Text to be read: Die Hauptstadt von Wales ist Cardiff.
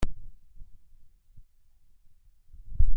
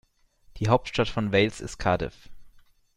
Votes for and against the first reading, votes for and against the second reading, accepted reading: 0, 3, 2, 1, second